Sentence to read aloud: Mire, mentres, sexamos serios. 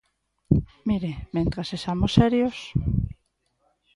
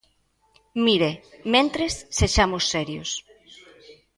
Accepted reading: second